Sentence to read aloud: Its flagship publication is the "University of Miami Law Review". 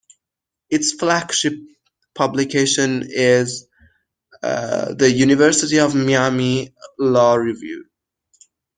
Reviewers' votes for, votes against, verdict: 1, 2, rejected